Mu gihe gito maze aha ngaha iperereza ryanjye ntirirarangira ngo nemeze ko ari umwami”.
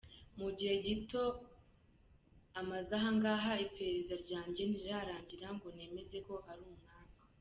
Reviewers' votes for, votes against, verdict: 0, 2, rejected